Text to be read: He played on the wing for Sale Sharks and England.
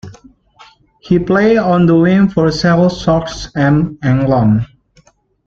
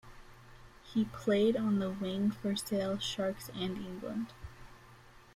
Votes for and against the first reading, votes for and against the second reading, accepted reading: 1, 2, 2, 0, second